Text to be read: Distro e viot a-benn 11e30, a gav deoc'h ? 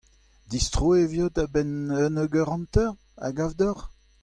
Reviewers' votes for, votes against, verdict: 0, 2, rejected